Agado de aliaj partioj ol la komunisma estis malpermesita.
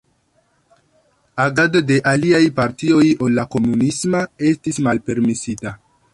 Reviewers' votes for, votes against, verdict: 2, 1, accepted